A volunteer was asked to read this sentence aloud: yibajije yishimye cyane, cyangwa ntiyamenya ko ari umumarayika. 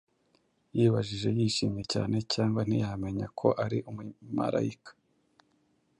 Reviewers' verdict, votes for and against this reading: accepted, 2, 0